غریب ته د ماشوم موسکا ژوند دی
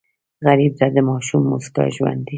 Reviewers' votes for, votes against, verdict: 0, 2, rejected